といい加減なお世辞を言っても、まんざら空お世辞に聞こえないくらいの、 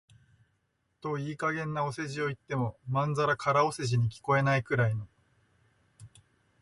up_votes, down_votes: 6, 0